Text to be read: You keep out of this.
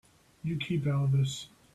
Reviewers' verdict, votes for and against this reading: accepted, 2, 0